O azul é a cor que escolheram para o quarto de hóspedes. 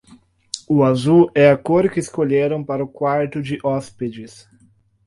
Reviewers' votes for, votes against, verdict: 4, 0, accepted